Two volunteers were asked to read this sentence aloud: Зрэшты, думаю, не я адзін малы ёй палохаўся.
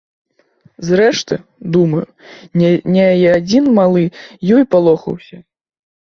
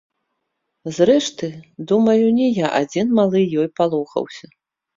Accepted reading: second